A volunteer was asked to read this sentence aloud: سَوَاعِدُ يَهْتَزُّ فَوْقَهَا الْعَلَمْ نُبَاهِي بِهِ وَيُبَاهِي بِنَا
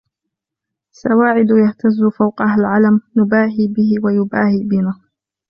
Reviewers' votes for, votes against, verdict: 1, 2, rejected